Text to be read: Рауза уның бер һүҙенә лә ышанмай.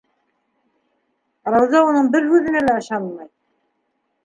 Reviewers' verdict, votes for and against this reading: accepted, 2, 0